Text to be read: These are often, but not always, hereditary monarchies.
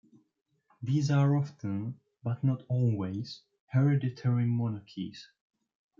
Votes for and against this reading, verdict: 2, 1, accepted